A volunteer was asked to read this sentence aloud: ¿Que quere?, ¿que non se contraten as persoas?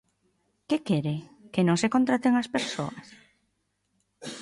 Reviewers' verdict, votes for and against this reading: accepted, 2, 0